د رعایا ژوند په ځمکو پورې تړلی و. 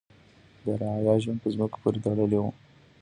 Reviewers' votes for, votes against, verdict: 1, 2, rejected